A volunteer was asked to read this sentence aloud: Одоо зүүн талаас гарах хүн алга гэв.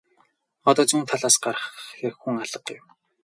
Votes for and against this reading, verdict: 2, 2, rejected